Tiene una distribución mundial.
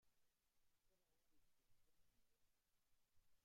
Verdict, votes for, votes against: rejected, 0, 2